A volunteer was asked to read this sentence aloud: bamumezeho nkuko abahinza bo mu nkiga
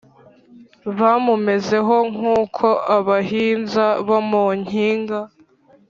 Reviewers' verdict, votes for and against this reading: rejected, 1, 2